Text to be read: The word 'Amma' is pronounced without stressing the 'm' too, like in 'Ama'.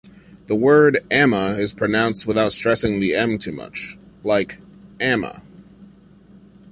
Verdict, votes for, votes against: rejected, 0, 2